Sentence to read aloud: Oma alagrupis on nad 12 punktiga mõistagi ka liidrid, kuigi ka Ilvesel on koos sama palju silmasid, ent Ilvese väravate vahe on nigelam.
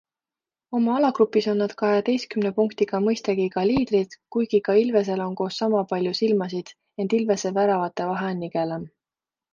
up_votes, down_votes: 0, 2